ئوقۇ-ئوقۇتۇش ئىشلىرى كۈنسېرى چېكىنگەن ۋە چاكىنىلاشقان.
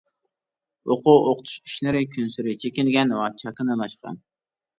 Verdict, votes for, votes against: accepted, 2, 0